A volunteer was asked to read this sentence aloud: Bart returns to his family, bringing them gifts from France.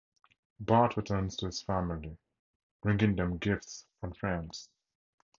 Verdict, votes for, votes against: accepted, 4, 0